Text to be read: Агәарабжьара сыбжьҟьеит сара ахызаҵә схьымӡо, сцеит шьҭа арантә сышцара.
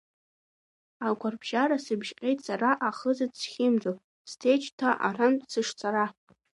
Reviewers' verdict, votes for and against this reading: rejected, 0, 2